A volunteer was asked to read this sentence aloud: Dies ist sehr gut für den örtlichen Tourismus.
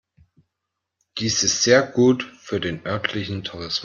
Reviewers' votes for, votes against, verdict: 0, 2, rejected